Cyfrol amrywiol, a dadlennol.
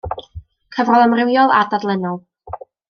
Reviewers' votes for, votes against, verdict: 1, 2, rejected